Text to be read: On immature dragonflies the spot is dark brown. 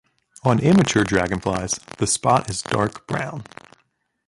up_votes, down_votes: 0, 2